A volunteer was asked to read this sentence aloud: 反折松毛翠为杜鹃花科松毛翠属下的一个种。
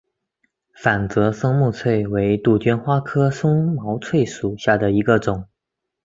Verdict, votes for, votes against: accepted, 2, 0